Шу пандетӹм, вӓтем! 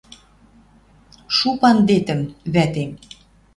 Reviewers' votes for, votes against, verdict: 2, 0, accepted